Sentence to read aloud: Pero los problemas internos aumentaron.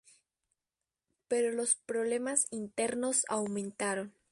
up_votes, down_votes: 2, 0